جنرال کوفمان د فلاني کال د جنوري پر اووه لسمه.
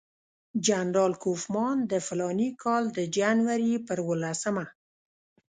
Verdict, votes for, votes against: rejected, 0, 2